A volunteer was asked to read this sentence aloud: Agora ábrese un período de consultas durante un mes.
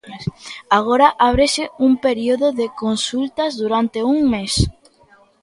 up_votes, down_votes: 2, 0